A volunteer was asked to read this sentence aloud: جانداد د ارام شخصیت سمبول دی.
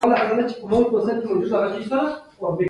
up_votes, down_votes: 1, 2